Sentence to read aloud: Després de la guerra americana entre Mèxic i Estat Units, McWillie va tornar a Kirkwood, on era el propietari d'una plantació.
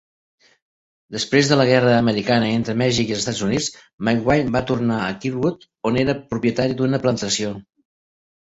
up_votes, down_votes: 0, 2